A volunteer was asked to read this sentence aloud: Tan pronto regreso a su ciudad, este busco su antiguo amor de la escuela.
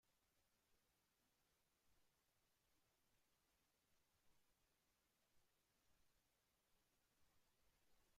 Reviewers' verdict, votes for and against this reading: rejected, 1, 2